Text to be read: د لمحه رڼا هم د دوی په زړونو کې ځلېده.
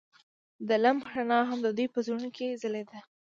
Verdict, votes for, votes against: accepted, 2, 0